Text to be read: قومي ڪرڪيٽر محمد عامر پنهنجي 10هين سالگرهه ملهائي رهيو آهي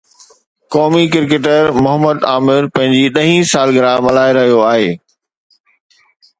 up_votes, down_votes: 0, 2